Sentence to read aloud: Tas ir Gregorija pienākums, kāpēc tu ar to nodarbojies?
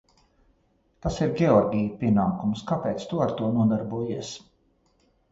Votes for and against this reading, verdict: 0, 2, rejected